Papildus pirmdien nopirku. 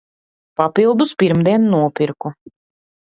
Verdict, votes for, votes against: accepted, 3, 0